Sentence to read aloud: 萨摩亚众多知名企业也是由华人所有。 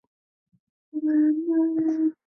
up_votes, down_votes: 0, 3